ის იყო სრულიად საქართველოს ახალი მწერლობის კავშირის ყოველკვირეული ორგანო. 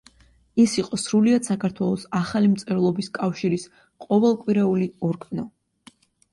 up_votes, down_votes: 2, 0